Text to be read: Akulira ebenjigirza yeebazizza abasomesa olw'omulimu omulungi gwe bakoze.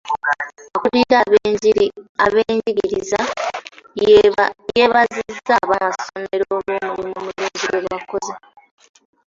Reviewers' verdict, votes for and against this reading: rejected, 0, 2